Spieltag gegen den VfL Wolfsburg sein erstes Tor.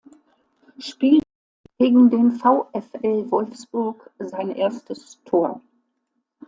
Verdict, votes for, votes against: rejected, 0, 2